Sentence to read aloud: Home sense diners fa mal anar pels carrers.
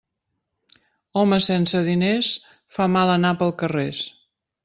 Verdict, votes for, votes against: rejected, 0, 2